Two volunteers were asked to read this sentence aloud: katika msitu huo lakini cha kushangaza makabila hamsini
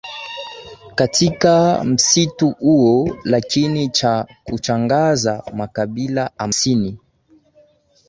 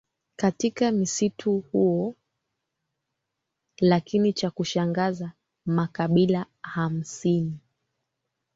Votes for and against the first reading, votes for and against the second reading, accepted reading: 9, 1, 1, 2, first